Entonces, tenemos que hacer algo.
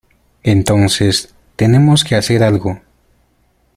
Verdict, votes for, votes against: accepted, 2, 0